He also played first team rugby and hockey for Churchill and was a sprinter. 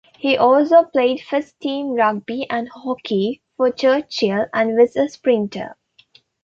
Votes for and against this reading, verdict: 2, 0, accepted